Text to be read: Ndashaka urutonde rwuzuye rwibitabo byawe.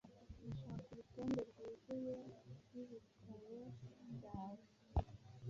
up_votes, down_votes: 1, 2